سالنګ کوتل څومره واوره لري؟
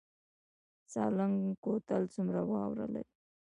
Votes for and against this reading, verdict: 2, 0, accepted